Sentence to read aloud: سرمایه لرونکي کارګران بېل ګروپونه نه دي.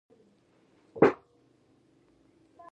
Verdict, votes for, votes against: rejected, 1, 2